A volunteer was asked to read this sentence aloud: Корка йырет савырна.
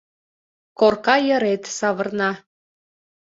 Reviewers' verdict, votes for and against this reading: accepted, 3, 0